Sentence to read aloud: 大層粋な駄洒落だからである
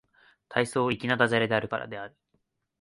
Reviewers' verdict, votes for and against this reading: accepted, 4, 1